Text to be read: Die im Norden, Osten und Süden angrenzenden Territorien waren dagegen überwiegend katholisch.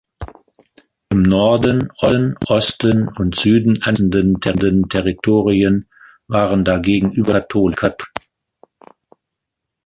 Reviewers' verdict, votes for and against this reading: rejected, 0, 2